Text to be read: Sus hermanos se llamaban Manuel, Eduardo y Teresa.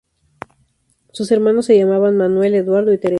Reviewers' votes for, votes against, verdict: 2, 2, rejected